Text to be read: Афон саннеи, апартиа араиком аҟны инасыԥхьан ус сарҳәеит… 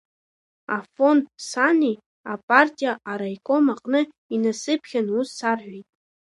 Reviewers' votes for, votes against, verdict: 0, 2, rejected